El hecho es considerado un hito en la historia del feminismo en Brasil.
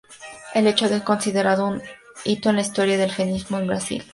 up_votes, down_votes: 0, 4